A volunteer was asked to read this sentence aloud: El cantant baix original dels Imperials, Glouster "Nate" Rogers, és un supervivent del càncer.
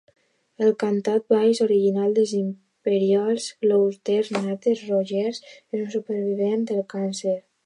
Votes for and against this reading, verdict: 0, 2, rejected